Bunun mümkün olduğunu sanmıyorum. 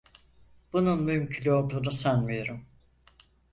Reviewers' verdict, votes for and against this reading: accepted, 4, 0